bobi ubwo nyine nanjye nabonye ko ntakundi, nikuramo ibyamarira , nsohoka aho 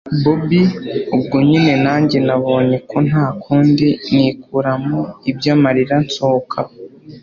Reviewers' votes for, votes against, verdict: 2, 0, accepted